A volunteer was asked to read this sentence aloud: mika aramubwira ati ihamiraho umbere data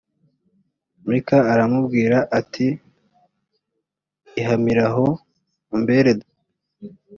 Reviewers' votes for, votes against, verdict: 1, 2, rejected